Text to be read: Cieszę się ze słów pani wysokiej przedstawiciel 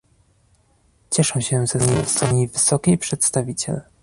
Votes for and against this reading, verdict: 1, 2, rejected